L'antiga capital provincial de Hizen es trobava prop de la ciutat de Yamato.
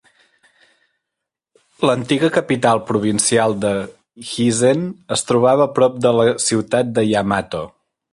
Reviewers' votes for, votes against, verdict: 2, 0, accepted